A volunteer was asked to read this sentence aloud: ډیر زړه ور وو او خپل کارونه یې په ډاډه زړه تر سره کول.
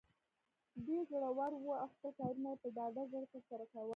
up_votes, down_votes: 0, 2